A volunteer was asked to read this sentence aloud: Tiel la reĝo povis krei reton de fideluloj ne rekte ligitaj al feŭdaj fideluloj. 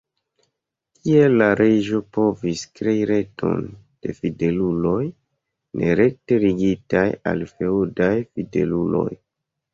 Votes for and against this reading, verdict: 2, 0, accepted